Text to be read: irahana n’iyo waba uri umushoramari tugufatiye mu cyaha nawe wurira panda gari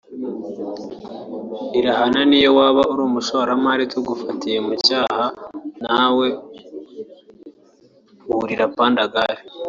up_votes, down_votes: 2, 0